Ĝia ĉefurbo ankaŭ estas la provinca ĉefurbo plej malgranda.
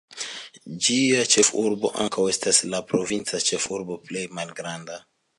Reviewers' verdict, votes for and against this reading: accepted, 3, 0